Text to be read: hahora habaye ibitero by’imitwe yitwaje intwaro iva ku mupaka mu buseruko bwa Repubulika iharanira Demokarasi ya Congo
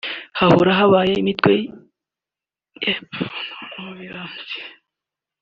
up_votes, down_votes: 0, 3